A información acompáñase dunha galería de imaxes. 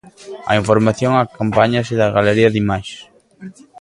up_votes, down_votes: 1, 2